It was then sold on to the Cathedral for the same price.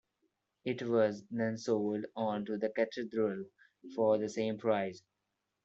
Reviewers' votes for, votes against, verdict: 1, 2, rejected